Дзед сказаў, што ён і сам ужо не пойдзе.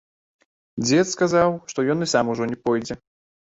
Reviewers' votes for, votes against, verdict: 2, 0, accepted